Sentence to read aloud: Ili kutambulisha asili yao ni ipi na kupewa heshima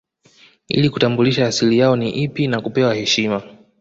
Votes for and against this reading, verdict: 2, 0, accepted